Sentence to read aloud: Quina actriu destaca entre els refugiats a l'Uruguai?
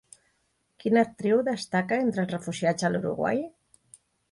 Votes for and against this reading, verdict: 2, 0, accepted